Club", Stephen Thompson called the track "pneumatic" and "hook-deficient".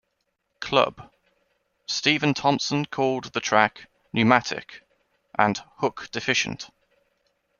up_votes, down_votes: 2, 1